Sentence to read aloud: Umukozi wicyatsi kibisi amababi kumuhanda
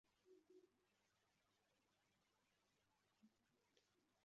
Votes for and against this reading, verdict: 0, 2, rejected